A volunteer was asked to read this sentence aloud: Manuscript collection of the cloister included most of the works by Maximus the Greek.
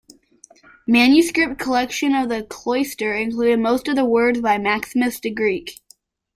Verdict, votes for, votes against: rejected, 1, 2